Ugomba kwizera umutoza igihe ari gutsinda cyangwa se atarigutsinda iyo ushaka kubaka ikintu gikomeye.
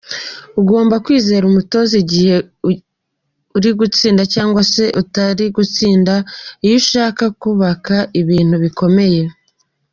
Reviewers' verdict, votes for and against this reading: rejected, 0, 2